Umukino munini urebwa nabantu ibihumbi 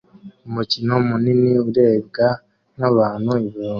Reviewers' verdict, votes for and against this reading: rejected, 1, 2